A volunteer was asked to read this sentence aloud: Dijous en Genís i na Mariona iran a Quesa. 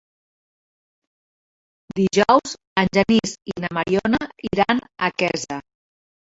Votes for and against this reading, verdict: 2, 3, rejected